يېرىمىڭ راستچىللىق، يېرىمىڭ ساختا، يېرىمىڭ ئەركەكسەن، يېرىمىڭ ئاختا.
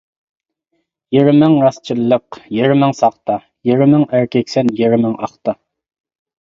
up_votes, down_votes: 2, 0